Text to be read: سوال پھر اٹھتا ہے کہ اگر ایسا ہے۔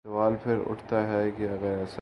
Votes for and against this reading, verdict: 0, 2, rejected